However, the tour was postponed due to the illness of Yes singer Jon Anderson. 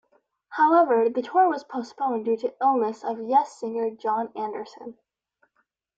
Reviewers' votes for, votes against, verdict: 1, 2, rejected